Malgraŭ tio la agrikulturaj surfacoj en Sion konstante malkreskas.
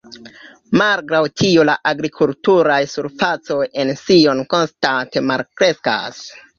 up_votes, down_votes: 2, 1